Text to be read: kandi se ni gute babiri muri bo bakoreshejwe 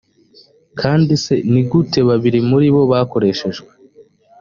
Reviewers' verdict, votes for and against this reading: accepted, 2, 0